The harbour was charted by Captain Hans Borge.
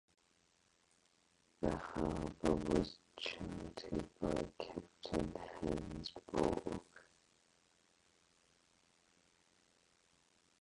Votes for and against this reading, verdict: 0, 4, rejected